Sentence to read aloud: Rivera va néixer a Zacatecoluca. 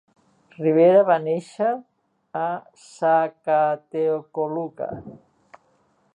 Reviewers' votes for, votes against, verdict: 0, 2, rejected